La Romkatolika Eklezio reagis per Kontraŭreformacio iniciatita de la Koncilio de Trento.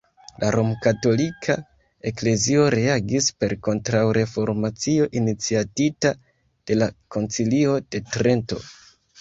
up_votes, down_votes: 2, 1